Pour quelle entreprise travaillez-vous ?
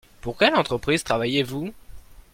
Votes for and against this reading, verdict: 2, 0, accepted